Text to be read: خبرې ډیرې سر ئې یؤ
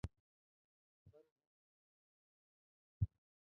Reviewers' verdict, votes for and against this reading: rejected, 0, 2